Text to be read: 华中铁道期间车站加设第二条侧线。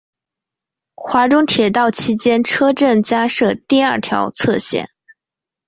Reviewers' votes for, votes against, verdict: 2, 0, accepted